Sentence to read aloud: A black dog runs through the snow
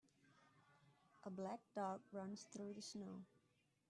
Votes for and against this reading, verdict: 0, 2, rejected